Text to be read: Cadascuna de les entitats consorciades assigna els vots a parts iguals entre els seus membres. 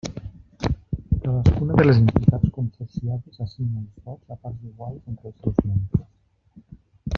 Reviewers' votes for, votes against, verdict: 0, 2, rejected